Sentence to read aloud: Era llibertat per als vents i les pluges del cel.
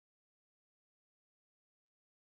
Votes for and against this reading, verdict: 0, 2, rejected